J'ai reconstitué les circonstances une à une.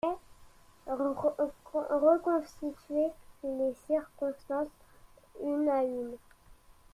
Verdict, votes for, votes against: rejected, 1, 2